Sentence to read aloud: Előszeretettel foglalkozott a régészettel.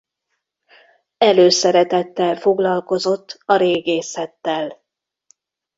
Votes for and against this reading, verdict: 2, 0, accepted